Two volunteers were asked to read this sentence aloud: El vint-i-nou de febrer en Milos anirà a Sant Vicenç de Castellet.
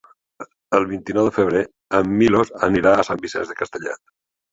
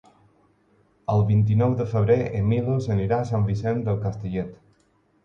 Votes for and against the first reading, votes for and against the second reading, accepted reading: 2, 1, 0, 4, first